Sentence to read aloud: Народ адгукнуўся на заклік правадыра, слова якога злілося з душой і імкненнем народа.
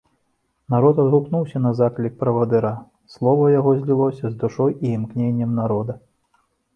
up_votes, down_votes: 0, 2